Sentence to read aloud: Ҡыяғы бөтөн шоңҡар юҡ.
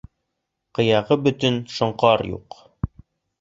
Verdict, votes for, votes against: accepted, 2, 0